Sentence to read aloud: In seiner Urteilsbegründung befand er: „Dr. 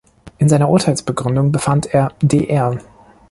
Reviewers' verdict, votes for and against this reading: rejected, 1, 2